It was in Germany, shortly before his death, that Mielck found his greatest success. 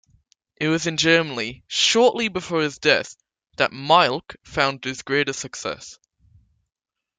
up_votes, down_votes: 2, 0